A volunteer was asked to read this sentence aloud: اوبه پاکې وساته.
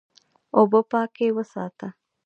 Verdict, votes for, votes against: rejected, 0, 2